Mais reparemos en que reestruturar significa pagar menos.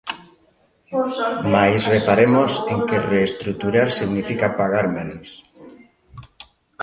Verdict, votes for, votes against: rejected, 1, 2